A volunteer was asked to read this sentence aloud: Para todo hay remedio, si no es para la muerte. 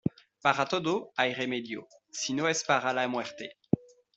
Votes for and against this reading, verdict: 2, 1, accepted